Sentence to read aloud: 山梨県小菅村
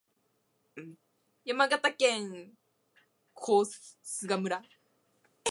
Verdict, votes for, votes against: rejected, 0, 2